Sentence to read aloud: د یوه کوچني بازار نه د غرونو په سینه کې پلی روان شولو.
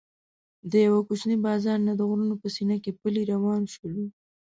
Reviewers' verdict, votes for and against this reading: accepted, 2, 0